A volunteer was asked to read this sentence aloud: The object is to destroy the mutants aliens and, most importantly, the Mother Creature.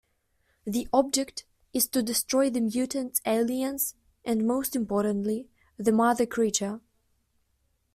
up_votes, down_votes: 2, 0